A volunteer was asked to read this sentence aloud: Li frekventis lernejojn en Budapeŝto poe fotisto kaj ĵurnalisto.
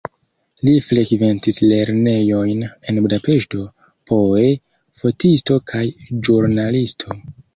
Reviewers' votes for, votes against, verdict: 1, 3, rejected